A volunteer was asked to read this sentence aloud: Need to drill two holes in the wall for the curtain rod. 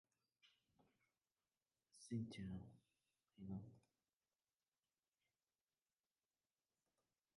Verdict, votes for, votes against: rejected, 0, 2